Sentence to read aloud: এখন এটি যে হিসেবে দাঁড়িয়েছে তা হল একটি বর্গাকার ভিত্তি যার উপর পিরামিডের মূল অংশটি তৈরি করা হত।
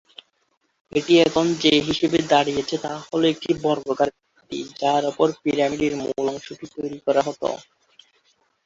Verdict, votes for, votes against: rejected, 0, 2